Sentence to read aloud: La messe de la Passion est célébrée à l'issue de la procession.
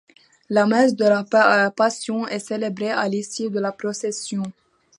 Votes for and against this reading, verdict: 1, 2, rejected